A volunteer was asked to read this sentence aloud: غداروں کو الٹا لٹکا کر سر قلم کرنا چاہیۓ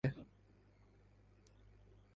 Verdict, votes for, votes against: rejected, 0, 2